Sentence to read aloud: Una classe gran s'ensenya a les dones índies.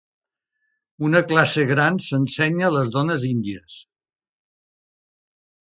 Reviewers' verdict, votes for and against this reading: accepted, 3, 0